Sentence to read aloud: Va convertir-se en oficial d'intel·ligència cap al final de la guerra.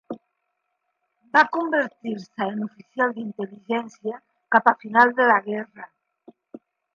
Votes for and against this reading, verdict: 3, 2, accepted